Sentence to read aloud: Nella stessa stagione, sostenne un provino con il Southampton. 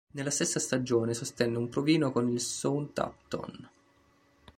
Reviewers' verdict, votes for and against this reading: accepted, 2, 1